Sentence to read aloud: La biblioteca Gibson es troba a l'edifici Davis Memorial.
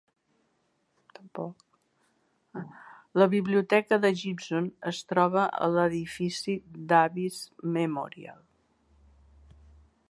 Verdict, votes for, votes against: rejected, 0, 2